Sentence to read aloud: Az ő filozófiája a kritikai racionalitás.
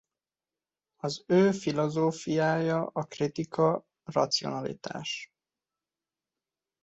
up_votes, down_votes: 0, 2